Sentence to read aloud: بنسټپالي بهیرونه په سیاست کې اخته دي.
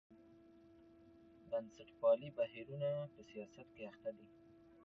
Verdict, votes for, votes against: accepted, 2, 0